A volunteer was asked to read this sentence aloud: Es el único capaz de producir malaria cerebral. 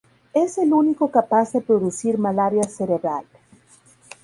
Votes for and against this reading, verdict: 0, 2, rejected